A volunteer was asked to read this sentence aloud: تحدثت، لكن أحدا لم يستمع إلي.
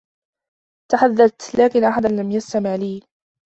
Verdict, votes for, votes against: rejected, 1, 2